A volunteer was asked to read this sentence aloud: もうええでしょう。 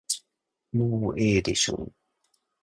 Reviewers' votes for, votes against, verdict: 2, 1, accepted